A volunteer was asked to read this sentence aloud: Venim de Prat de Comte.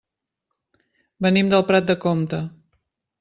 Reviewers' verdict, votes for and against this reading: rejected, 0, 2